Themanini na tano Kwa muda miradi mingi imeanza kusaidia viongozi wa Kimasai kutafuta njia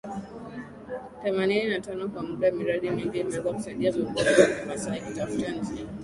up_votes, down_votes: 0, 2